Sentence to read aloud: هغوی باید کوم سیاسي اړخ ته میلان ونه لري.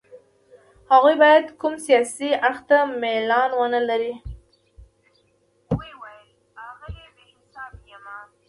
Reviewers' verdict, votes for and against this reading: accepted, 2, 1